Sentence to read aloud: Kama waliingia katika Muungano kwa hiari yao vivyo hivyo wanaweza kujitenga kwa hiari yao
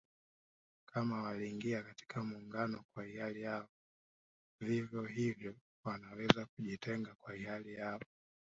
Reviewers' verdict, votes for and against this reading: rejected, 0, 3